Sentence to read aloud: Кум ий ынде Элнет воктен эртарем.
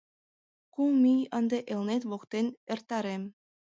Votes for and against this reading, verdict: 2, 0, accepted